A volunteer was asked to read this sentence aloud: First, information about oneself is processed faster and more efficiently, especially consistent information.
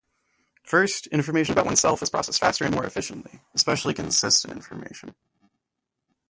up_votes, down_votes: 0, 2